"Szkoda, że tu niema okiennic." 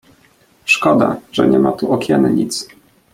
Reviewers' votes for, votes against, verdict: 2, 0, accepted